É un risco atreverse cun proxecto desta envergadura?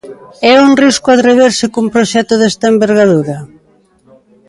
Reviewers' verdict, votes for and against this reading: rejected, 1, 2